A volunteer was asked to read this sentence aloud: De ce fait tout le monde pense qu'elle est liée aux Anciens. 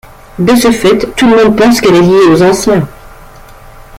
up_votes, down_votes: 2, 0